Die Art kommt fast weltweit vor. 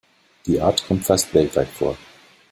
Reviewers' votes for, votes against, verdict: 2, 0, accepted